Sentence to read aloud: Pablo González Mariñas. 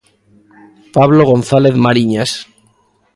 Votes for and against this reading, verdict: 2, 0, accepted